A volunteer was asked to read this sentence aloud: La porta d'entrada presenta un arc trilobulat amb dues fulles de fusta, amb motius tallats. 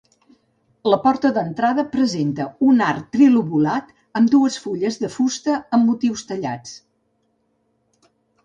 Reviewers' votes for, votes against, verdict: 2, 0, accepted